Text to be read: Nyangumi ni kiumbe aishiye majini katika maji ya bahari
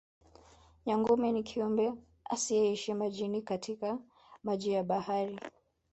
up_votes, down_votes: 2, 3